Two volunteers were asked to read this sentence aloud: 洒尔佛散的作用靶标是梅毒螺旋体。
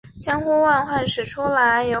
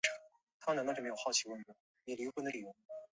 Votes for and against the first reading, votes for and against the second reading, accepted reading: 0, 2, 2, 0, second